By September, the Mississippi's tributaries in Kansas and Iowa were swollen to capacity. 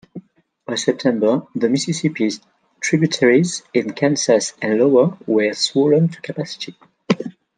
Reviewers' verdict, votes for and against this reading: rejected, 0, 2